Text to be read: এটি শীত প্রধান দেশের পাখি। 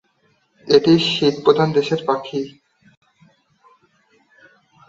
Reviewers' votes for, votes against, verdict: 2, 0, accepted